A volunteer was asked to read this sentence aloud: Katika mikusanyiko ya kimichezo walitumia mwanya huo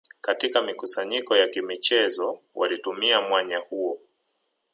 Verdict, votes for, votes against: rejected, 0, 2